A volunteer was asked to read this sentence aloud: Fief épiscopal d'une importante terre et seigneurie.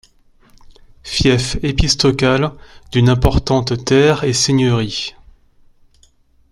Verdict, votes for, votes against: rejected, 0, 2